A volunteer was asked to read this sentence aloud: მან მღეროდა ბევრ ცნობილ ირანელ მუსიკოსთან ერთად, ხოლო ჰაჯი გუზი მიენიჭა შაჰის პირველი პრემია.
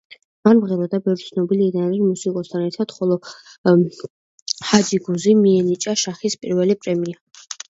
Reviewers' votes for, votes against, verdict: 1, 2, rejected